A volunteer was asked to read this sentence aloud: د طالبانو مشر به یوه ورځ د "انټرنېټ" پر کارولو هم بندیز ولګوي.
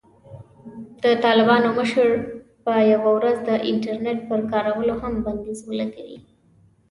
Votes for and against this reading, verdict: 2, 0, accepted